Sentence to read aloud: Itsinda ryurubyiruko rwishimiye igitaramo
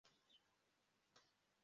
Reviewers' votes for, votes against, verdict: 0, 2, rejected